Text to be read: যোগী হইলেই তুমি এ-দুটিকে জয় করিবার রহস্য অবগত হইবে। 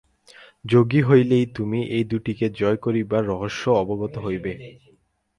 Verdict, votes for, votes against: rejected, 4, 4